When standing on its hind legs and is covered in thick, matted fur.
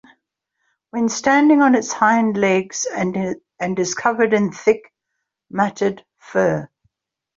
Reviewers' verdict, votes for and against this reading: rejected, 2, 3